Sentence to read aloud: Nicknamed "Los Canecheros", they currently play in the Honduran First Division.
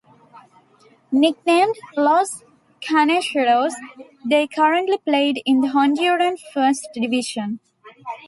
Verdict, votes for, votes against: rejected, 0, 2